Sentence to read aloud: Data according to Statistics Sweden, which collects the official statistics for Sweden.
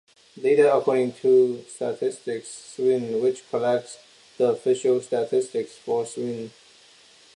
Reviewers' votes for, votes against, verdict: 0, 2, rejected